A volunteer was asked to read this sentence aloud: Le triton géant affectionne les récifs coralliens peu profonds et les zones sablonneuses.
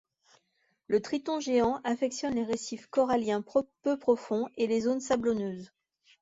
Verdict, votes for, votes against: rejected, 1, 2